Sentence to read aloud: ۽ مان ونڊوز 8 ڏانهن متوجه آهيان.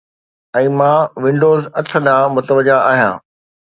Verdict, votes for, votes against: rejected, 0, 2